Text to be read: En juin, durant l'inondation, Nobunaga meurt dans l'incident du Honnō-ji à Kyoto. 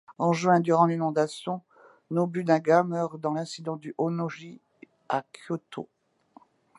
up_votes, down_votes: 2, 0